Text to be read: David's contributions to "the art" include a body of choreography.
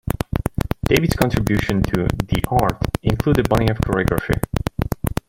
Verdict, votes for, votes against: rejected, 0, 2